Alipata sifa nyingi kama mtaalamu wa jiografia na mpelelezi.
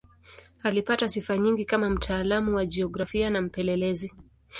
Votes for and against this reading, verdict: 2, 0, accepted